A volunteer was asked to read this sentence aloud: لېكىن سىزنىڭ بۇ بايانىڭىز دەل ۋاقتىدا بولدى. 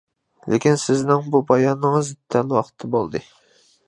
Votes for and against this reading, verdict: 2, 1, accepted